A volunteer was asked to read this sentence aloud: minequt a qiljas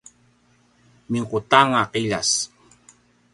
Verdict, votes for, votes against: rejected, 1, 2